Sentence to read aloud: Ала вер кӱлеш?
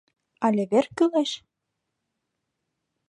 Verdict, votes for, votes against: rejected, 0, 2